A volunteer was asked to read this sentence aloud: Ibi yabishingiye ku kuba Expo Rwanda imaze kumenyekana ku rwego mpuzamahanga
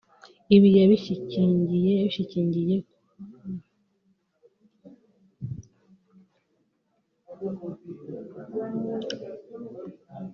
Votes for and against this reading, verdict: 0, 2, rejected